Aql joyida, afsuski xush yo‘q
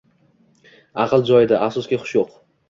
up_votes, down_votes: 2, 0